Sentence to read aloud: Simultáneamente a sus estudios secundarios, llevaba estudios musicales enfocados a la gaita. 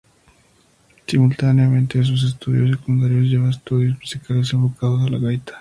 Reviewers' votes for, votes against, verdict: 0, 2, rejected